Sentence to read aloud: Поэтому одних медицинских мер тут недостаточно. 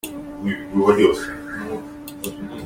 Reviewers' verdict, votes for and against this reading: rejected, 0, 2